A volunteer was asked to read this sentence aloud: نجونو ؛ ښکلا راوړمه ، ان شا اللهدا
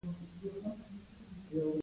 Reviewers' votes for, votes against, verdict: 0, 2, rejected